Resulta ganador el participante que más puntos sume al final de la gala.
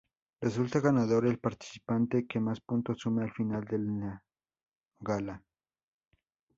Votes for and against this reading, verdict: 0, 2, rejected